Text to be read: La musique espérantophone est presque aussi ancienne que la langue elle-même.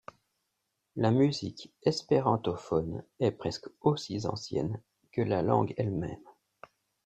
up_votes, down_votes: 1, 2